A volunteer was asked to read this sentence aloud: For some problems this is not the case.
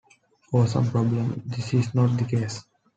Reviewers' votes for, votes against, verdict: 0, 2, rejected